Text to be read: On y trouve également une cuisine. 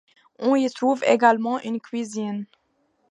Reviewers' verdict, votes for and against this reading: accepted, 2, 0